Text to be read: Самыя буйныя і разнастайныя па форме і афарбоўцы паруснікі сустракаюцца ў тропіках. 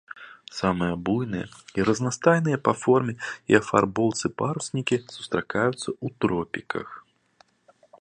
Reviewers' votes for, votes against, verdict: 3, 2, accepted